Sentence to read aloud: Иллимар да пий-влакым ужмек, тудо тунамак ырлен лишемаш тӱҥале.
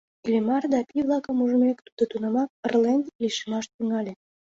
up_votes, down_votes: 2, 0